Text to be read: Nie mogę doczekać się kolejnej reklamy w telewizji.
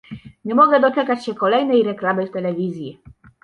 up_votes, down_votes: 2, 0